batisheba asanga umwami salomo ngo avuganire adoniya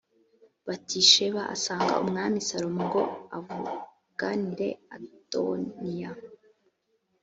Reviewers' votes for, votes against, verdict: 2, 0, accepted